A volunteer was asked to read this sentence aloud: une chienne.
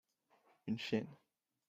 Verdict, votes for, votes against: rejected, 1, 2